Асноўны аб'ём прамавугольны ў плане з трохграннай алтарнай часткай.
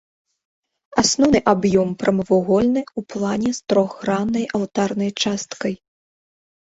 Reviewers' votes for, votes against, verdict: 1, 2, rejected